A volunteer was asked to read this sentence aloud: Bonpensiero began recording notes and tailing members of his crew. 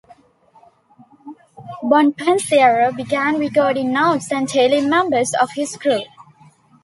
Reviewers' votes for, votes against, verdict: 2, 0, accepted